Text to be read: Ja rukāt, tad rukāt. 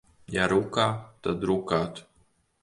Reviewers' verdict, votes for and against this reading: rejected, 0, 2